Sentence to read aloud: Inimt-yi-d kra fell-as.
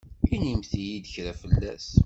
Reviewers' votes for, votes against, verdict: 2, 0, accepted